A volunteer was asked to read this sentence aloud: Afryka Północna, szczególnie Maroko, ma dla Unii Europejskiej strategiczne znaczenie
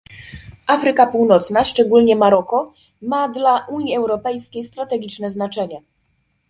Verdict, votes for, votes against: accepted, 2, 0